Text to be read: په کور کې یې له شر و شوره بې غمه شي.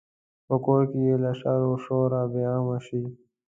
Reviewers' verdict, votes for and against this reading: accepted, 2, 0